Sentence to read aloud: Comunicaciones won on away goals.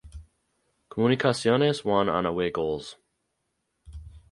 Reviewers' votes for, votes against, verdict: 2, 2, rejected